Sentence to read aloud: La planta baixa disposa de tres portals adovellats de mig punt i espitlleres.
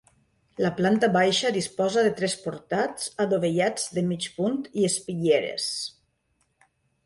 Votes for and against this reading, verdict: 0, 2, rejected